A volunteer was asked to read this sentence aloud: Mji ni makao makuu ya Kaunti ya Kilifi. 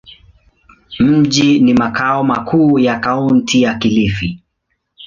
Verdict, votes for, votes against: accepted, 2, 0